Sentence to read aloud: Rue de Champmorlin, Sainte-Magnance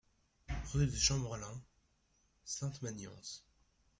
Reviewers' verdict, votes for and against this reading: accepted, 2, 1